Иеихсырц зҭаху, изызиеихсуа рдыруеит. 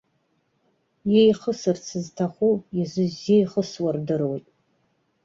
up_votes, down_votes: 1, 2